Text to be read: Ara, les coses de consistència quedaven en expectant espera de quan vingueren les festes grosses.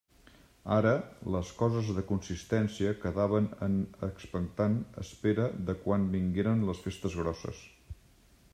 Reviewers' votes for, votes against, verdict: 3, 1, accepted